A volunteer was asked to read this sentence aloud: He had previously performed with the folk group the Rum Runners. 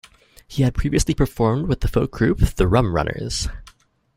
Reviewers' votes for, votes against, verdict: 4, 0, accepted